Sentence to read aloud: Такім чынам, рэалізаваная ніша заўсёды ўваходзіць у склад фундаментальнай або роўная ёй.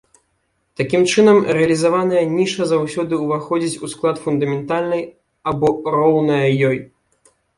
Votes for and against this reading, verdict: 2, 0, accepted